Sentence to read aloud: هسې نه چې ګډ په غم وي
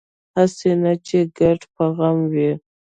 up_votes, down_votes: 0, 2